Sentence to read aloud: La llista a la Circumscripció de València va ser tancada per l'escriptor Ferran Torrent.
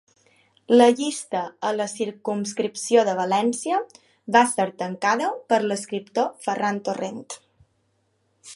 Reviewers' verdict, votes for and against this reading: accepted, 2, 0